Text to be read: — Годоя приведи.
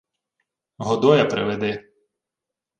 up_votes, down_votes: 2, 0